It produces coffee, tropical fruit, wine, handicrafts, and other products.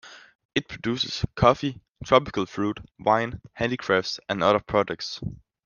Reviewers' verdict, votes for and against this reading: accepted, 2, 0